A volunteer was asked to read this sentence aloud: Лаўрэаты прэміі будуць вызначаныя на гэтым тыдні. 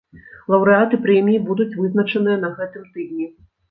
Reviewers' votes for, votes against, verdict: 2, 0, accepted